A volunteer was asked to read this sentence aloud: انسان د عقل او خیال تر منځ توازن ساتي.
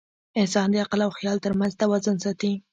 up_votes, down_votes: 2, 0